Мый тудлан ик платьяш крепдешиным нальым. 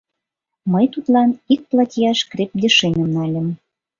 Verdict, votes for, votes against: rejected, 1, 2